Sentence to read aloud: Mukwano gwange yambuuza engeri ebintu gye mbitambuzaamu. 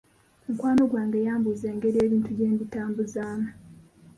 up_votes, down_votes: 1, 2